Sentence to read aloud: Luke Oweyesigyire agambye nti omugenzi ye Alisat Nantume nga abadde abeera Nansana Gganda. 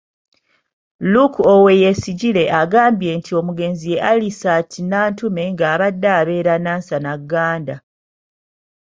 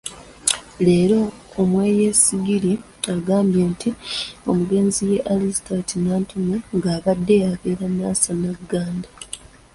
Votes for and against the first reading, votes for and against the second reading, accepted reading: 2, 0, 0, 2, first